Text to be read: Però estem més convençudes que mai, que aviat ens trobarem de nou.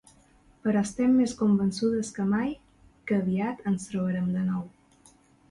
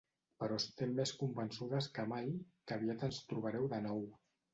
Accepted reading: first